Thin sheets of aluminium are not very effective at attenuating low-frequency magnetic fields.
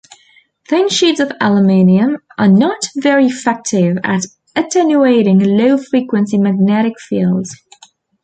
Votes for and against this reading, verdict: 1, 2, rejected